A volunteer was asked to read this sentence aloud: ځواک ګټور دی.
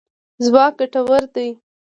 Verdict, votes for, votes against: accepted, 2, 0